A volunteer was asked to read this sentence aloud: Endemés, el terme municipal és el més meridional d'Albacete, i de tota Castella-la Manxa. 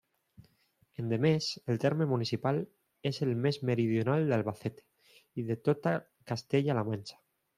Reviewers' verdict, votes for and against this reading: accepted, 2, 1